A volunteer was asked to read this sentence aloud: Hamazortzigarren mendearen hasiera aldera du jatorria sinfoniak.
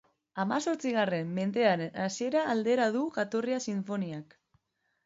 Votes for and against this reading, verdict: 4, 0, accepted